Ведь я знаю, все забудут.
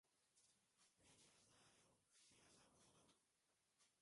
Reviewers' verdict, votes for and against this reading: rejected, 0, 2